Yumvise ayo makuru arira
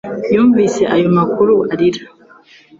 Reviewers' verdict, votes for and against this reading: accepted, 2, 0